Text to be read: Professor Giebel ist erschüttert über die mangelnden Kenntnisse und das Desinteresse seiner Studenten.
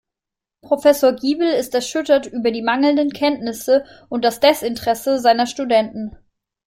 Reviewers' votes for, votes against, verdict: 2, 0, accepted